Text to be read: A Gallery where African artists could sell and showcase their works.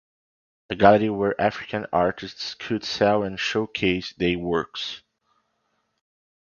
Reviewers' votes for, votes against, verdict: 1, 2, rejected